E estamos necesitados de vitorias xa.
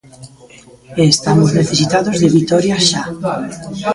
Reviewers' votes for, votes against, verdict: 2, 1, accepted